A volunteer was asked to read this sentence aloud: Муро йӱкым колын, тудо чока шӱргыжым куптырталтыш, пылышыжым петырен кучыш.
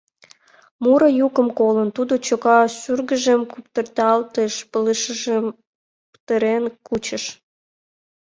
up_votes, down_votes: 2, 0